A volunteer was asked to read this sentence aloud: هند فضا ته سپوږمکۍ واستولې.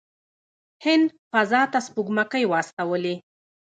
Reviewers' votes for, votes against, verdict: 0, 2, rejected